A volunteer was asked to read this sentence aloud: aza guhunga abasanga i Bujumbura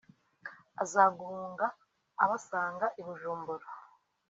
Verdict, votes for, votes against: accepted, 2, 0